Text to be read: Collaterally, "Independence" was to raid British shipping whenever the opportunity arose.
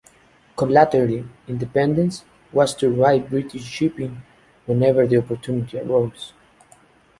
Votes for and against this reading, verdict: 2, 1, accepted